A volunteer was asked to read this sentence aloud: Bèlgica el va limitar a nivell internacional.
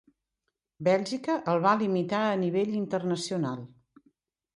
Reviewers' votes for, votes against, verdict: 2, 0, accepted